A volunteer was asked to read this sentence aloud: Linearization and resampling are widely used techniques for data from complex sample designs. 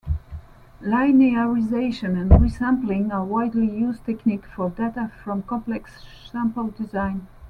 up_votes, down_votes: 0, 2